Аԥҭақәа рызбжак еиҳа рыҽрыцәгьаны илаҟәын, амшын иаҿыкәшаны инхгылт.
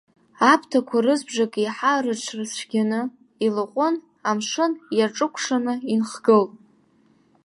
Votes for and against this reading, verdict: 2, 1, accepted